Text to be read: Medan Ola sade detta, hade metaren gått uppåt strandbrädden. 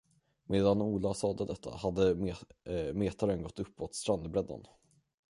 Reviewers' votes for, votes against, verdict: 0, 10, rejected